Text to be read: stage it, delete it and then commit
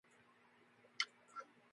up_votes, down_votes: 0, 2